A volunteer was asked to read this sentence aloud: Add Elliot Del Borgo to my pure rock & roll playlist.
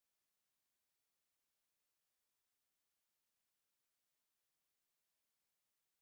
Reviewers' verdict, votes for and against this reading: rejected, 0, 2